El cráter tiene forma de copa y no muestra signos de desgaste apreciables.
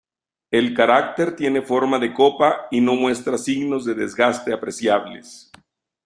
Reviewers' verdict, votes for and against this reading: rejected, 0, 2